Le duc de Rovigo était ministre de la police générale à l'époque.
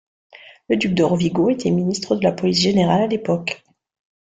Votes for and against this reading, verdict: 2, 0, accepted